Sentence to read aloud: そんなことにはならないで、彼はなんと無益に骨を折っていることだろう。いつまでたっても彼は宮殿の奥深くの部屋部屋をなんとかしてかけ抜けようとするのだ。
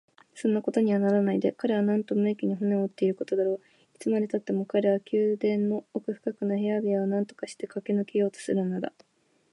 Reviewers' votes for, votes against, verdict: 3, 0, accepted